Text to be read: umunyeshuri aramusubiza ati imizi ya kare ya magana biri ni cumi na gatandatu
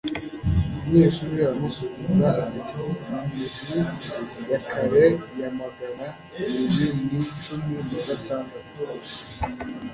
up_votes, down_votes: 0, 2